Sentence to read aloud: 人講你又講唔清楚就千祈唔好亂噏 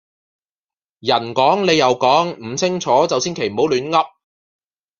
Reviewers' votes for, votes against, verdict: 2, 0, accepted